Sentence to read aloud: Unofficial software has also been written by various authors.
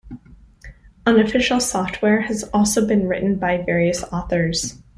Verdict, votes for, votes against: accepted, 2, 0